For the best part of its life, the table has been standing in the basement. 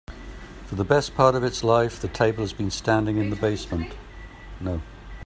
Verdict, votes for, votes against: rejected, 2, 3